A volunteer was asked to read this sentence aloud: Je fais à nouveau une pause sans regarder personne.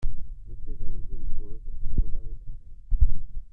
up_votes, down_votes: 0, 2